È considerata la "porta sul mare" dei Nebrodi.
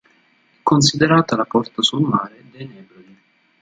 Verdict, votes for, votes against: rejected, 0, 2